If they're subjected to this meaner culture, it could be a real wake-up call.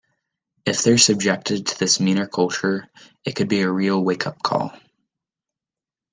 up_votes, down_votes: 2, 0